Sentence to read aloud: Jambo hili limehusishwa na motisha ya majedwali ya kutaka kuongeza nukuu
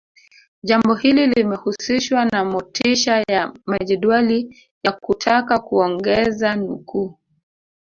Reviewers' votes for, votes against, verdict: 0, 2, rejected